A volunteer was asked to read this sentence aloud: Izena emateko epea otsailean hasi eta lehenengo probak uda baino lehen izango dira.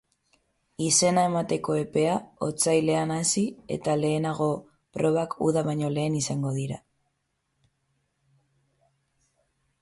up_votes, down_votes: 6, 6